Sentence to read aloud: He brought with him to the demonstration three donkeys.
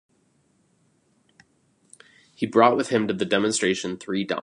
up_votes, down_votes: 0, 2